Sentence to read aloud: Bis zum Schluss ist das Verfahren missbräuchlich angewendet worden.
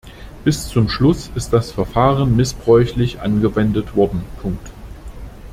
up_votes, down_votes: 0, 2